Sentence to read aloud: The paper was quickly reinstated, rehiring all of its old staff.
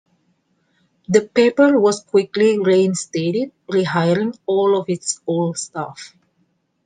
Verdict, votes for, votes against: accepted, 2, 0